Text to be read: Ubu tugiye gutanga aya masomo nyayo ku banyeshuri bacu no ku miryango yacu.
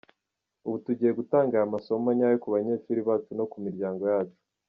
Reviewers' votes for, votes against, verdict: 1, 2, rejected